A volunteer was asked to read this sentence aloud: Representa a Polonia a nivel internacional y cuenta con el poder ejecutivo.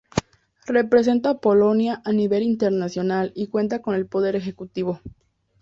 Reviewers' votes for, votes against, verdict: 2, 0, accepted